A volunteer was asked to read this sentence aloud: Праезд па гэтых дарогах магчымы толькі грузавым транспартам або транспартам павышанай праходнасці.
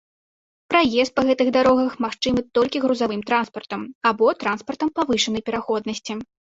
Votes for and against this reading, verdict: 0, 3, rejected